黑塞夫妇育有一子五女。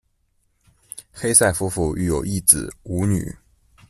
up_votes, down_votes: 2, 0